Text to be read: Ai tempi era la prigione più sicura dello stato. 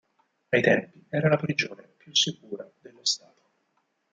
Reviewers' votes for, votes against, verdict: 2, 6, rejected